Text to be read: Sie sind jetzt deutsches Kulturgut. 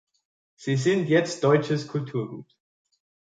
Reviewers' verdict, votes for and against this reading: accepted, 3, 0